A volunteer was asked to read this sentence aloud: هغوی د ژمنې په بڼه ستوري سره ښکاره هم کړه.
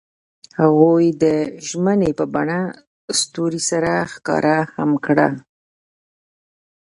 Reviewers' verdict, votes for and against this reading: accepted, 2, 1